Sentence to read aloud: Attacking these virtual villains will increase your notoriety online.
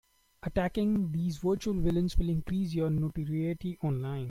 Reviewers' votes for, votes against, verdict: 2, 0, accepted